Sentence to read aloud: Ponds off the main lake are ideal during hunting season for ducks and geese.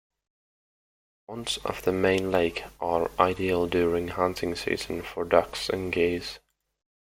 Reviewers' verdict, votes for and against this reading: accepted, 2, 0